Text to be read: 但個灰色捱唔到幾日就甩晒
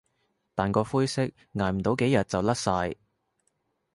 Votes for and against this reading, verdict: 2, 0, accepted